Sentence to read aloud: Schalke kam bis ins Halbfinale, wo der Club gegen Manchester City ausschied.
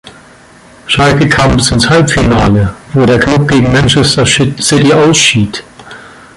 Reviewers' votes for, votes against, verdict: 0, 2, rejected